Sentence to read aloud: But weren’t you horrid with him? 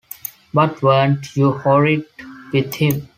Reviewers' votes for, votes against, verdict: 2, 0, accepted